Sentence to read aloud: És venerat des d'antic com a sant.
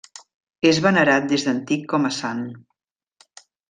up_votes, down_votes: 1, 2